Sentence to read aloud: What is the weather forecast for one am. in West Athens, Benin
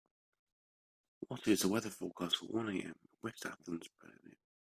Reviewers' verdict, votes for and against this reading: rejected, 0, 2